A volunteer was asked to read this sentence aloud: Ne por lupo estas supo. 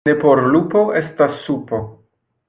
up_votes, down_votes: 2, 0